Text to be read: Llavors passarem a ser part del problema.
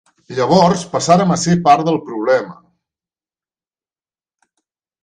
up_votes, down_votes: 0, 2